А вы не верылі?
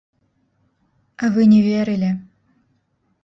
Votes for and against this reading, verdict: 0, 2, rejected